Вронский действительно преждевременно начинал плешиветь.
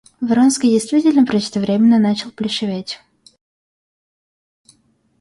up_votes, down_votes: 0, 2